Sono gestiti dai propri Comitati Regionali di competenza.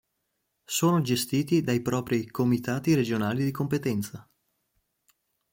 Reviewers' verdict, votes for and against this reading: accepted, 2, 0